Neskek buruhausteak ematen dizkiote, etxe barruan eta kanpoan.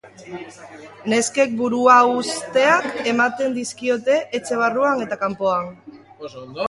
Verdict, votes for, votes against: rejected, 0, 2